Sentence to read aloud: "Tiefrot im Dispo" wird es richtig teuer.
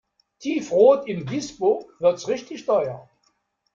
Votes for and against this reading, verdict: 0, 2, rejected